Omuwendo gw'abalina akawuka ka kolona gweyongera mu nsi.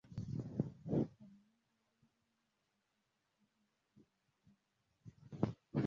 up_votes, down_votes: 0, 2